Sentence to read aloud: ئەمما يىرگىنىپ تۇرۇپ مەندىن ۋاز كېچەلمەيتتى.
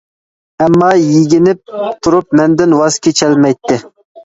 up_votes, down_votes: 1, 2